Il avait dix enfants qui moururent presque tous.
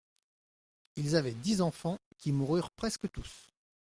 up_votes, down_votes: 0, 2